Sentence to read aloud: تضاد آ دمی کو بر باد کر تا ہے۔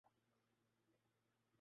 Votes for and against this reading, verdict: 0, 2, rejected